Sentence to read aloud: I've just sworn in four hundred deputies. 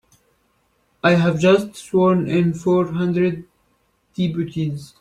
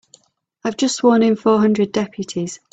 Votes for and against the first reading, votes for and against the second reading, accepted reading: 1, 2, 3, 0, second